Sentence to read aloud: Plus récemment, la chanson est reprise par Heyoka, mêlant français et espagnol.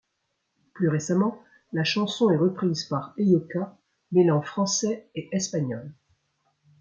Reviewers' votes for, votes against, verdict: 2, 0, accepted